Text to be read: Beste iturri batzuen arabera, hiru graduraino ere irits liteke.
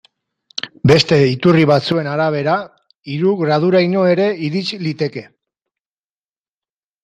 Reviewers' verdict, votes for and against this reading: rejected, 2, 3